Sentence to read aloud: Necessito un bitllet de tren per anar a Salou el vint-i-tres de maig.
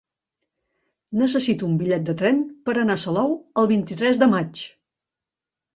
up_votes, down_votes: 2, 0